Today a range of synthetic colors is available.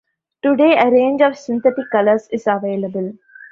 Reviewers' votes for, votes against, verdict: 1, 2, rejected